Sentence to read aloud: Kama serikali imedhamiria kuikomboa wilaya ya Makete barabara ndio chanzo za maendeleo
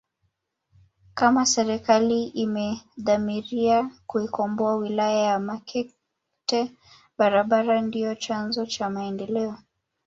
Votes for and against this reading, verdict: 1, 2, rejected